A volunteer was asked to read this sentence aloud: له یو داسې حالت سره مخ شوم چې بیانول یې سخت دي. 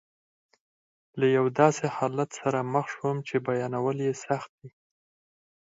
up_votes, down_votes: 2, 4